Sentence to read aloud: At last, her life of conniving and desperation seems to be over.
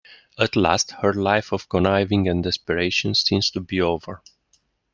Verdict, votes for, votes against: accepted, 2, 0